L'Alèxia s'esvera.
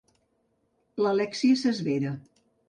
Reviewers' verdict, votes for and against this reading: rejected, 1, 2